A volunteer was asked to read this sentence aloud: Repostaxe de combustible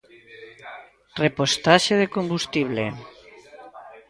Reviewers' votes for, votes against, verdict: 1, 2, rejected